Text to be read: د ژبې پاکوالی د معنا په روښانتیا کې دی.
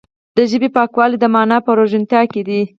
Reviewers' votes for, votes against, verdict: 4, 6, rejected